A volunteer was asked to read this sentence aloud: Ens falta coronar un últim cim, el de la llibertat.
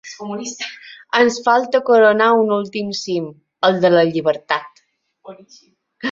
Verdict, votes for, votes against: accepted, 3, 1